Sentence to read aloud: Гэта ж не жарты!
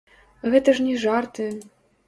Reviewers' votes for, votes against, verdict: 0, 2, rejected